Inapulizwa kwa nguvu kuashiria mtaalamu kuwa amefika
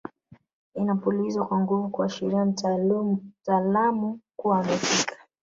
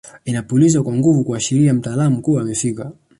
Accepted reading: second